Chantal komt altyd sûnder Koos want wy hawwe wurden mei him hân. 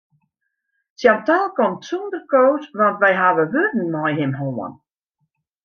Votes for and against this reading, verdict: 0, 2, rejected